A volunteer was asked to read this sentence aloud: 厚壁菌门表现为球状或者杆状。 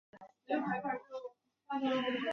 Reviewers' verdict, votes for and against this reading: rejected, 0, 3